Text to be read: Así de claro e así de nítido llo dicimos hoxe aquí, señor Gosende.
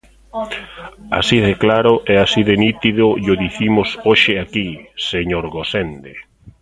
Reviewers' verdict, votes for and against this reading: rejected, 1, 2